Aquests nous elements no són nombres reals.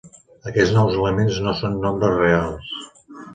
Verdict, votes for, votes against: accepted, 2, 1